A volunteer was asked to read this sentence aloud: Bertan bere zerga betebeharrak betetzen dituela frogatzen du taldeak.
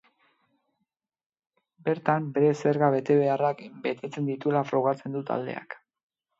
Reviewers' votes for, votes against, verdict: 2, 0, accepted